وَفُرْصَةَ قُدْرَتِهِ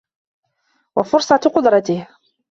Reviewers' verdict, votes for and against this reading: rejected, 1, 2